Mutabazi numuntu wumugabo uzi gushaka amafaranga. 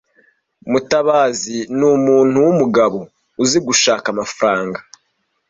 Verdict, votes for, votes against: accepted, 2, 0